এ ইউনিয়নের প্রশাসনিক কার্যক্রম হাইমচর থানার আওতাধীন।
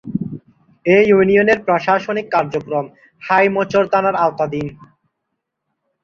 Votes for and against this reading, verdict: 0, 2, rejected